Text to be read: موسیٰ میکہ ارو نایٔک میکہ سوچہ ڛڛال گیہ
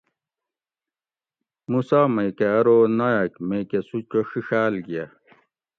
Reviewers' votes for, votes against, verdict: 2, 0, accepted